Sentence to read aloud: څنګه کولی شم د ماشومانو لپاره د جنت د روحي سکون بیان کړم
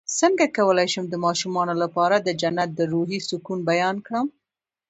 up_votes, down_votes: 0, 2